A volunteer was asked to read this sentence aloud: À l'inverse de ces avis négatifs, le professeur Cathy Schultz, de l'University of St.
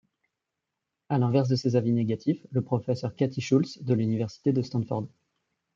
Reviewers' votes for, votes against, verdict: 1, 2, rejected